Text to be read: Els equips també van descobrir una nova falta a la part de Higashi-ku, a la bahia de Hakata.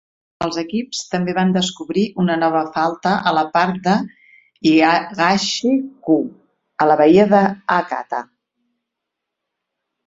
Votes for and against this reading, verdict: 2, 4, rejected